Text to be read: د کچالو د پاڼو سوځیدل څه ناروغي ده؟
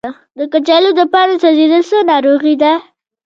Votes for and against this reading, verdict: 1, 2, rejected